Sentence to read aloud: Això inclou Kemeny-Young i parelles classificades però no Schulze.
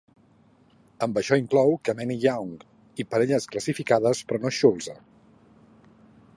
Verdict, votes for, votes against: rejected, 0, 3